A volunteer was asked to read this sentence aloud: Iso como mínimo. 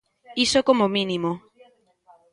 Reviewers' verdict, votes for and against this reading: accepted, 2, 0